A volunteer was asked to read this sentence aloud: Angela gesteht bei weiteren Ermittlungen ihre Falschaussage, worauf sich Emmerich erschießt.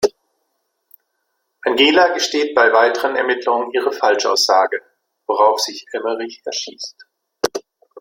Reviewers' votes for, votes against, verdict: 1, 2, rejected